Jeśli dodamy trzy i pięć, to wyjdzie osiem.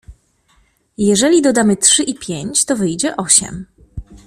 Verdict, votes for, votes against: rejected, 0, 2